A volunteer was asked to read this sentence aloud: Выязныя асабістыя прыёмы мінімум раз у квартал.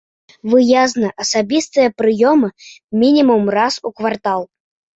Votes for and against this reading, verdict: 0, 2, rejected